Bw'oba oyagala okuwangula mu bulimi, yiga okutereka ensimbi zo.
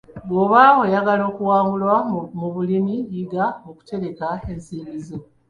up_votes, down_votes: 1, 2